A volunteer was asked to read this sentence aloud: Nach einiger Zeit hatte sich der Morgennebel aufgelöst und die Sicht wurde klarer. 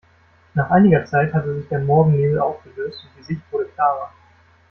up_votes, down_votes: 1, 2